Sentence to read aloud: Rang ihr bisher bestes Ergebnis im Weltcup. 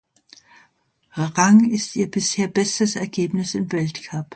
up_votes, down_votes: 0, 2